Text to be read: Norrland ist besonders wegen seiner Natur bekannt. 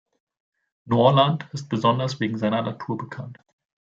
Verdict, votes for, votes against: accepted, 2, 0